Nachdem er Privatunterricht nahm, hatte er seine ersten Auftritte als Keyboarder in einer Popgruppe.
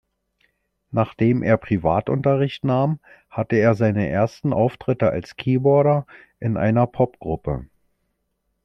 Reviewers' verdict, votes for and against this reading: accepted, 2, 0